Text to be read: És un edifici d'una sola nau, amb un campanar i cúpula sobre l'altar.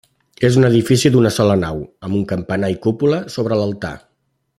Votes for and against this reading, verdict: 3, 0, accepted